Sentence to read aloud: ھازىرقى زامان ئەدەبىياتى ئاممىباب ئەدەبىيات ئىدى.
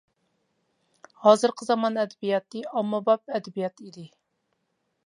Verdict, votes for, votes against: accepted, 2, 0